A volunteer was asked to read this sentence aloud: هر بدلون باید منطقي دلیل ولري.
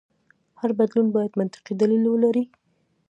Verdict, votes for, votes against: accepted, 2, 0